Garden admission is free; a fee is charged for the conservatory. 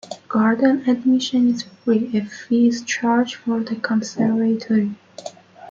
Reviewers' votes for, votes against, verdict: 2, 0, accepted